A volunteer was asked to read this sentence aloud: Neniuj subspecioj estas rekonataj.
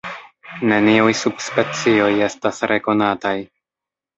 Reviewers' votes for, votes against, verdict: 0, 2, rejected